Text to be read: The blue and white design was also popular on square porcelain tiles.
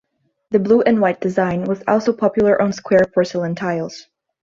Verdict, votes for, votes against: rejected, 1, 2